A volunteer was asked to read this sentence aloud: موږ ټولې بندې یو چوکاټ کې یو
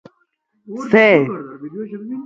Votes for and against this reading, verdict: 0, 2, rejected